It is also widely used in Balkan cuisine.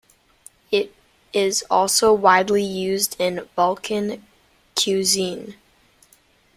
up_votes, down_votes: 0, 2